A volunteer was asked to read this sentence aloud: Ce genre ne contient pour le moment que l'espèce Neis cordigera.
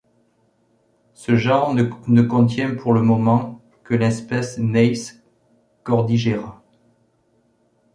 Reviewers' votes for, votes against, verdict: 1, 3, rejected